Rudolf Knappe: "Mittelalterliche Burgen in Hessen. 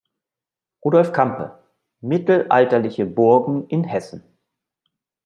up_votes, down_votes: 1, 2